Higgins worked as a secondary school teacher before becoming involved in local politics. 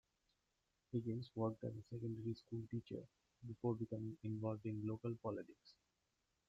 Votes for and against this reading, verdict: 2, 1, accepted